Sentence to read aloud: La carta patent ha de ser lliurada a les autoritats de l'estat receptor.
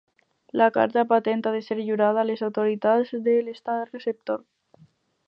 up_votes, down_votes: 6, 0